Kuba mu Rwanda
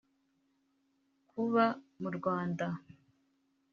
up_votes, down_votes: 3, 0